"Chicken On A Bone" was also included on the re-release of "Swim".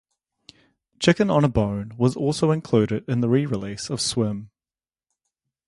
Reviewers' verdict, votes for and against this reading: rejected, 0, 2